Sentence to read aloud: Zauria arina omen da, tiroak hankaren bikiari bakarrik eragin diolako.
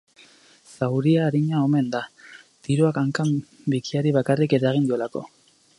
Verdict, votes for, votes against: rejected, 0, 4